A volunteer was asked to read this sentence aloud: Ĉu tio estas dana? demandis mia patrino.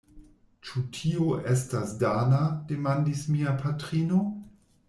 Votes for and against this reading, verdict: 2, 0, accepted